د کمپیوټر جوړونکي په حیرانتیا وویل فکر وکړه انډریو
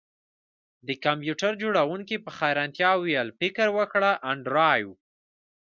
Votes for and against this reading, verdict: 0, 2, rejected